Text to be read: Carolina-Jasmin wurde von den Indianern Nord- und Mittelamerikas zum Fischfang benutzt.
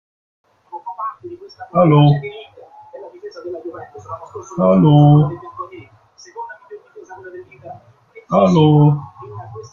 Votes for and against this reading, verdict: 1, 2, rejected